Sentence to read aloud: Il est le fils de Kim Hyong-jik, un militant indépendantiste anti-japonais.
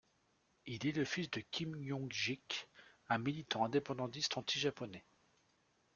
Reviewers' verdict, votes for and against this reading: rejected, 1, 2